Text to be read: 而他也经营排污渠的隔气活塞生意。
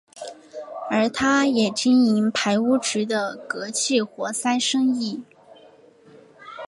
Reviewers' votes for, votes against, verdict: 3, 0, accepted